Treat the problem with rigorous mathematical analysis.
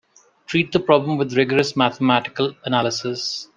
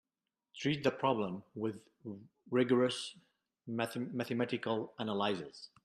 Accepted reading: first